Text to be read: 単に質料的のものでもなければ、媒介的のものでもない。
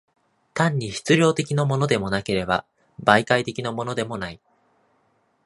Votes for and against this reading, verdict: 2, 0, accepted